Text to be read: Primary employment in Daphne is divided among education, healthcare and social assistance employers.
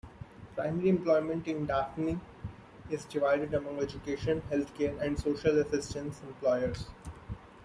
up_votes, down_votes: 2, 0